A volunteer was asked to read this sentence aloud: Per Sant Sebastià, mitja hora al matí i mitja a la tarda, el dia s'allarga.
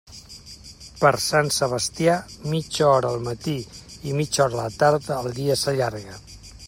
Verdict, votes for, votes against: accepted, 2, 1